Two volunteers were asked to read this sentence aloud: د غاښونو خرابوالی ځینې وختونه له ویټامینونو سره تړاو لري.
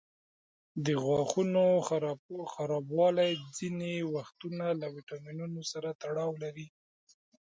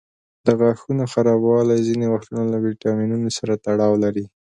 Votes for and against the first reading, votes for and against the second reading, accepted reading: 1, 2, 2, 0, second